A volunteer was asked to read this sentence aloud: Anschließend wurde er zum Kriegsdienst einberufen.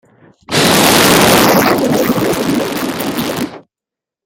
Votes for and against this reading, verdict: 0, 2, rejected